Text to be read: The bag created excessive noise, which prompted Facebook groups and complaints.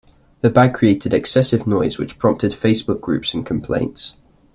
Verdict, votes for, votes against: accepted, 2, 0